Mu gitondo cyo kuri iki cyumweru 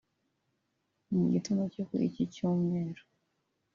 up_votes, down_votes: 2, 1